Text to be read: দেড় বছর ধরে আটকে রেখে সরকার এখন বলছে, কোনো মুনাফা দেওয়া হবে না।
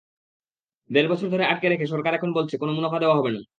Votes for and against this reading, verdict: 2, 0, accepted